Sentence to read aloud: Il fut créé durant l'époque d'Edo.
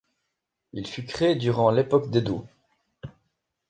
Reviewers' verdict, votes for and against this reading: accepted, 2, 0